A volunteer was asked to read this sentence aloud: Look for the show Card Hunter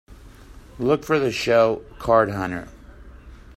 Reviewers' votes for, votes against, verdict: 3, 0, accepted